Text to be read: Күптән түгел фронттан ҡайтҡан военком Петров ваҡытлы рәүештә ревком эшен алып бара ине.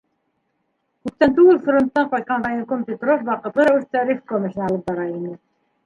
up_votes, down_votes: 1, 2